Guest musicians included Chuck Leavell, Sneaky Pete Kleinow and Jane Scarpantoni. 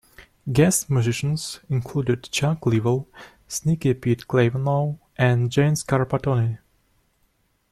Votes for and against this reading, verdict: 2, 1, accepted